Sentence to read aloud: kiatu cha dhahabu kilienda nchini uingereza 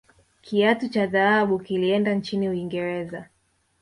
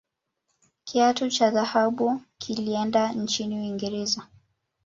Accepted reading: second